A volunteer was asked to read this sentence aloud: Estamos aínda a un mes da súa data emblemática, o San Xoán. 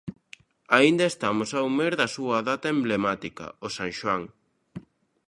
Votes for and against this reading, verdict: 0, 2, rejected